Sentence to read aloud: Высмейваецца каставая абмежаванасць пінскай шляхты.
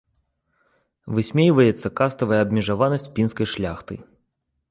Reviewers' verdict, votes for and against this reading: accepted, 2, 0